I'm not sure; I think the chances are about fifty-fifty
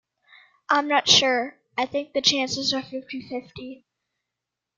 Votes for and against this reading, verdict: 1, 2, rejected